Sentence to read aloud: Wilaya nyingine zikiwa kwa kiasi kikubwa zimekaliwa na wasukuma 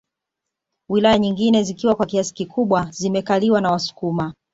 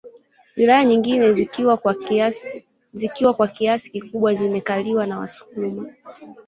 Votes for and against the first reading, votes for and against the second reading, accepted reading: 2, 0, 2, 3, first